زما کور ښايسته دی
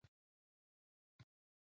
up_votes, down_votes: 1, 2